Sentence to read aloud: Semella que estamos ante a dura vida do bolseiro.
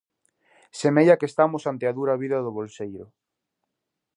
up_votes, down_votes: 2, 0